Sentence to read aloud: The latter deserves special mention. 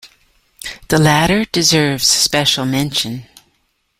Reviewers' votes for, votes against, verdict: 2, 0, accepted